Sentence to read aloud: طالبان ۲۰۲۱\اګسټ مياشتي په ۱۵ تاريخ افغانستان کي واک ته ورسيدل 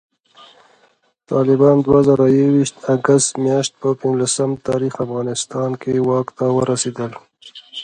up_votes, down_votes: 0, 2